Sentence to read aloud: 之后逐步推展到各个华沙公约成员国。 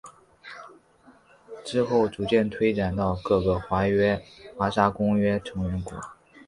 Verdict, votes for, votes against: rejected, 1, 7